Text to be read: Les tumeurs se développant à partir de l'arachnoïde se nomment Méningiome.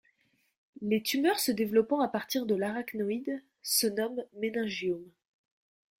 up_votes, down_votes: 2, 0